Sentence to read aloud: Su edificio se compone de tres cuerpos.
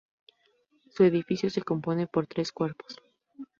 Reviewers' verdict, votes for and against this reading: rejected, 2, 2